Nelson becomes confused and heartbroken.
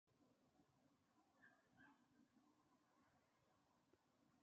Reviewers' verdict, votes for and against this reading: rejected, 0, 2